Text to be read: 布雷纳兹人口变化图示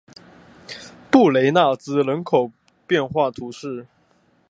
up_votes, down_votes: 2, 0